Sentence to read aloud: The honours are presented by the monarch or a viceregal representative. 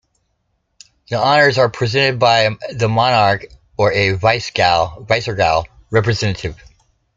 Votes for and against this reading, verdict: 0, 2, rejected